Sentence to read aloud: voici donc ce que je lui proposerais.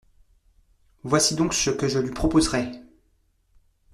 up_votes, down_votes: 2, 0